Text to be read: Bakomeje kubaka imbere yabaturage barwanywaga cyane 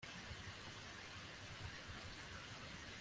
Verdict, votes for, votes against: rejected, 0, 2